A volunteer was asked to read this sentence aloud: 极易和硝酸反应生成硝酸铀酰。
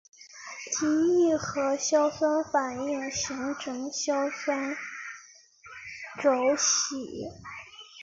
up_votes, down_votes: 0, 4